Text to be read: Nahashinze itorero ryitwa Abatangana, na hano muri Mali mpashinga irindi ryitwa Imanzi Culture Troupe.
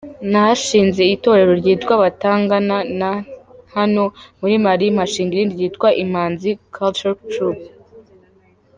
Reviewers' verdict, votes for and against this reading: rejected, 1, 2